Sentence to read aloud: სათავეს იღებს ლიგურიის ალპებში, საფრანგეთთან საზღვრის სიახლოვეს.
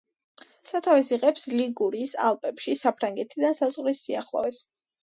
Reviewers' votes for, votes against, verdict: 2, 0, accepted